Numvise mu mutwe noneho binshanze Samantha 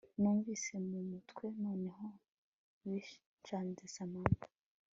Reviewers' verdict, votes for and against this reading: accepted, 2, 0